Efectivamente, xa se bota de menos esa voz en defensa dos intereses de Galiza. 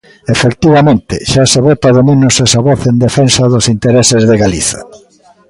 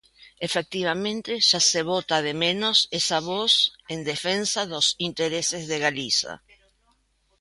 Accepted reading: second